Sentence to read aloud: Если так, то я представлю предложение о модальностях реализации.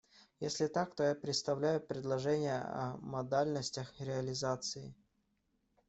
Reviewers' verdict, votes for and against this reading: rejected, 0, 2